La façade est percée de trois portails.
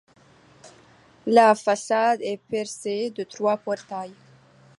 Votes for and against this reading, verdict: 2, 0, accepted